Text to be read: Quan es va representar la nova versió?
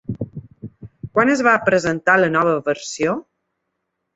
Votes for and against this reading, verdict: 1, 2, rejected